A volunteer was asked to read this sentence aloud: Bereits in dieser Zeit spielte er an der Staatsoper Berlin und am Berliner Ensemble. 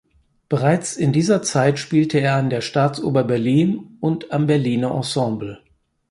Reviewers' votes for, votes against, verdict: 2, 4, rejected